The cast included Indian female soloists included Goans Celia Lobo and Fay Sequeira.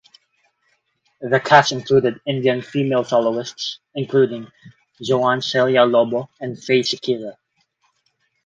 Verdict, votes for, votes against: rejected, 2, 4